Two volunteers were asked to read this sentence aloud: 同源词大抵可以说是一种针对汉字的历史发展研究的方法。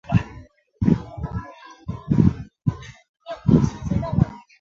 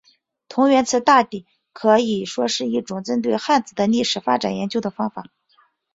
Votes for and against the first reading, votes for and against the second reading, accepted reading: 0, 2, 2, 0, second